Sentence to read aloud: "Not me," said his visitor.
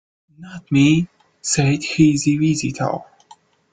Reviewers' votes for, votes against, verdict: 0, 2, rejected